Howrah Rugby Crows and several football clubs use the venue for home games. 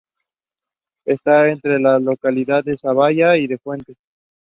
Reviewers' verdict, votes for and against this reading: rejected, 0, 2